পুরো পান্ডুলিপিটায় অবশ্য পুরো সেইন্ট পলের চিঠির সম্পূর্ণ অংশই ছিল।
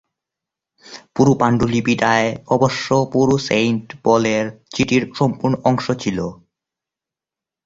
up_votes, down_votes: 4, 6